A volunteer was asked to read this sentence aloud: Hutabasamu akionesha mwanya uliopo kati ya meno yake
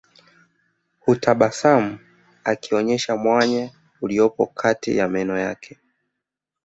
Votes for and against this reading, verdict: 2, 0, accepted